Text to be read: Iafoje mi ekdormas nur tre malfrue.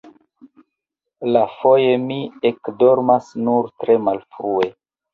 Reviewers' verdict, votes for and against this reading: accepted, 2, 0